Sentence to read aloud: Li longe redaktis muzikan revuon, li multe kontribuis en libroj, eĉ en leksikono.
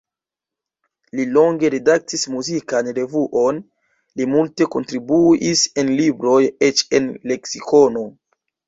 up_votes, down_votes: 2, 0